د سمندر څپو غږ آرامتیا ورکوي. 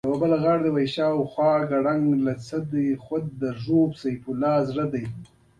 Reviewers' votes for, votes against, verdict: 1, 2, rejected